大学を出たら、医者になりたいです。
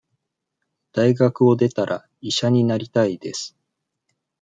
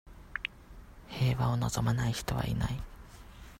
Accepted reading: first